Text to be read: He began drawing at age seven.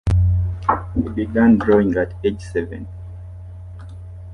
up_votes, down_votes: 0, 2